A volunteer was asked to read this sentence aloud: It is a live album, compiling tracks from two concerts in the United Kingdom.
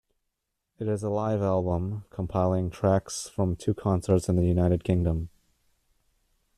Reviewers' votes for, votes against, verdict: 1, 2, rejected